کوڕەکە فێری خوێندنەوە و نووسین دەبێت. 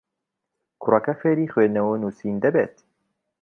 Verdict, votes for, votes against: accepted, 2, 0